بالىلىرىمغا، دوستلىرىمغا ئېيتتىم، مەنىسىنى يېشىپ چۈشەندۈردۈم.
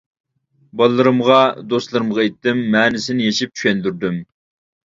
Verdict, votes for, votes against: accepted, 2, 0